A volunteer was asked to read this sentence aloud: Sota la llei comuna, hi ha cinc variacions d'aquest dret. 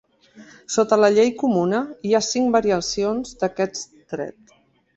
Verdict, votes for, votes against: rejected, 1, 2